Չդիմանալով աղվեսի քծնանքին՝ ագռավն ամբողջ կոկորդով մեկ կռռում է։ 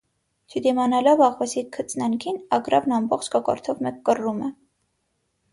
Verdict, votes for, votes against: accepted, 6, 0